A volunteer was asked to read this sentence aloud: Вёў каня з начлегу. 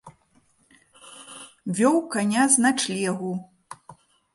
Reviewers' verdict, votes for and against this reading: rejected, 1, 2